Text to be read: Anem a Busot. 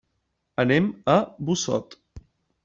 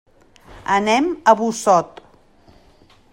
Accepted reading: second